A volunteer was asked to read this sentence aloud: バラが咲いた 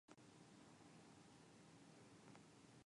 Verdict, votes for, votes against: rejected, 0, 3